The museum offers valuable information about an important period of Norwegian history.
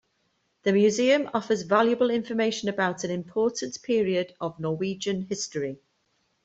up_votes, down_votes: 2, 0